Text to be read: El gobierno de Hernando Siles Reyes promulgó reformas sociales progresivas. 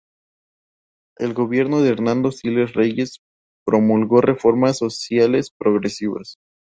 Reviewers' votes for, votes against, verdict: 2, 0, accepted